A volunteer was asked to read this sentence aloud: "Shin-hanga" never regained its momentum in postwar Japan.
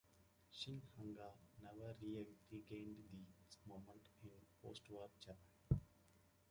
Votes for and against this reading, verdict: 1, 2, rejected